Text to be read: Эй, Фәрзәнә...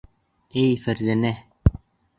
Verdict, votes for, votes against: accepted, 2, 0